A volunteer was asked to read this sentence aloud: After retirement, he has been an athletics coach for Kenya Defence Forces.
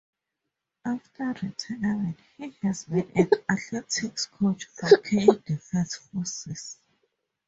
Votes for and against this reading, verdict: 0, 2, rejected